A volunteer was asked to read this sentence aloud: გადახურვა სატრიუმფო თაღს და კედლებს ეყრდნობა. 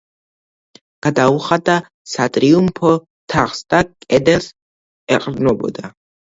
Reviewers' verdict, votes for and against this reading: rejected, 0, 2